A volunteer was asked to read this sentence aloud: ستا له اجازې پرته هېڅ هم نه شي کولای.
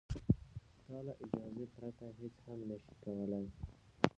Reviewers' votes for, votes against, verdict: 1, 2, rejected